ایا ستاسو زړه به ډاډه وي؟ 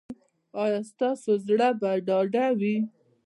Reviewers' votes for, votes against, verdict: 2, 1, accepted